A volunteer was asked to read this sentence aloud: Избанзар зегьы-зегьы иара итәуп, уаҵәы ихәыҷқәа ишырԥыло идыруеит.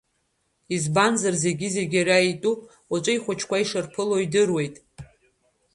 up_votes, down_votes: 2, 1